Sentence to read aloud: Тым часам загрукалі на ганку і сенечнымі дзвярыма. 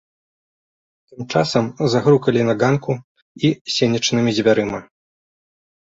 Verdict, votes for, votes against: rejected, 2, 3